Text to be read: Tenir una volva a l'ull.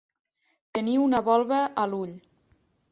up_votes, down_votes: 3, 1